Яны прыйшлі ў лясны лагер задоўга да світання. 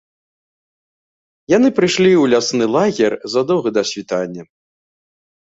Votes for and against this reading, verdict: 2, 0, accepted